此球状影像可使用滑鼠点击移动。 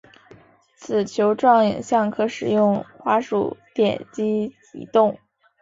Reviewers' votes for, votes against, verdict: 2, 0, accepted